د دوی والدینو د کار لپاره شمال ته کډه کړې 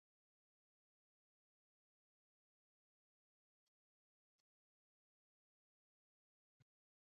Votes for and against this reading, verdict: 1, 2, rejected